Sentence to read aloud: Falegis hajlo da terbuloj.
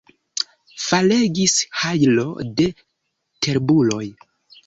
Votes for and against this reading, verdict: 2, 0, accepted